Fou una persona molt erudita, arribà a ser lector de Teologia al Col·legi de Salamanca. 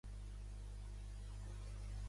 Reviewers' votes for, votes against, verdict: 1, 2, rejected